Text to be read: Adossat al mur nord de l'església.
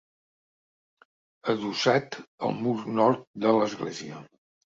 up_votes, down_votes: 3, 0